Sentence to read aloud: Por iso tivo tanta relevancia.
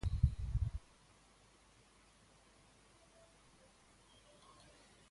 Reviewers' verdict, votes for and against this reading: rejected, 0, 2